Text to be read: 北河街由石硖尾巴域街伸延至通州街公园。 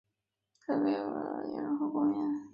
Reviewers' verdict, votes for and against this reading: rejected, 0, 2